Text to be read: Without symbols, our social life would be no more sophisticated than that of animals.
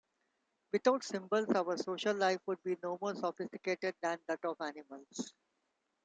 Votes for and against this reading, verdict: 2, 1, accepted